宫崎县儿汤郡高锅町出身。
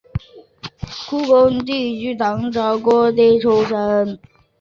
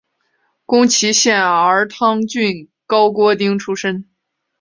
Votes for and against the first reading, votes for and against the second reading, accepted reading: 0, 2, 2, 0, second